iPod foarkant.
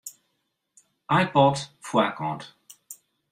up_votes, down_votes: 2, 0